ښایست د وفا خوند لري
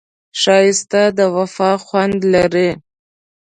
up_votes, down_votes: 1, 2